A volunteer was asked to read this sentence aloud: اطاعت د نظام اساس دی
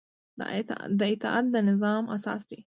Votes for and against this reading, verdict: 2, 0, accepted